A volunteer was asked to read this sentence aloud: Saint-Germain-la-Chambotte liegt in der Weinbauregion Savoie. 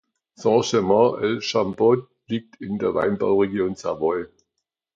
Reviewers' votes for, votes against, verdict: 1, 2, rejected